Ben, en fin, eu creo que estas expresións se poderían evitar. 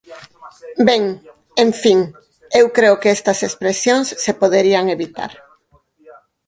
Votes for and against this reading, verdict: 0, 4, rejected